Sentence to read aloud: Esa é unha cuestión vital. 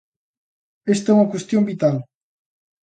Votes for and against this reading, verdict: 0, 2, rejected